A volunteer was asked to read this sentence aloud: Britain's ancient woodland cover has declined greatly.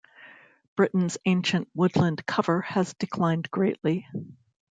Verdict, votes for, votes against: accepted, 2, 0